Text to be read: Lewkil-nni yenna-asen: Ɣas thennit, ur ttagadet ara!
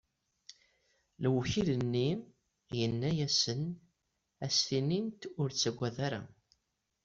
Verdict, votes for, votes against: accepted, 2, 1